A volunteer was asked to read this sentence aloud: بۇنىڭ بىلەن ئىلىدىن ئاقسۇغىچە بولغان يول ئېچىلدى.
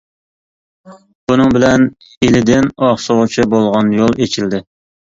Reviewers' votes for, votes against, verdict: 2, 0, accepted